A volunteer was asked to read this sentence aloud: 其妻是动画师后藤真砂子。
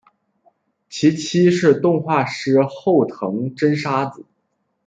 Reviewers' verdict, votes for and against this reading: accepted, 2, 0